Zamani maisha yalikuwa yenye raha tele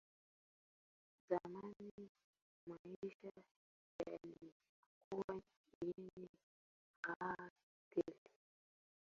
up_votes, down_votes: 0, 2